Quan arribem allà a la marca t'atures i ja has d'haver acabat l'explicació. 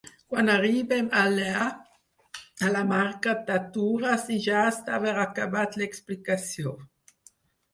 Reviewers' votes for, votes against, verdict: 4, 6, rejected